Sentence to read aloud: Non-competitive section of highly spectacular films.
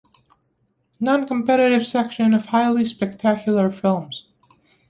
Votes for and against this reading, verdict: 2, 0, accepted